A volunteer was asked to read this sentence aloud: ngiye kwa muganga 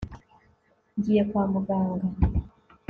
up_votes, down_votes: 2, 0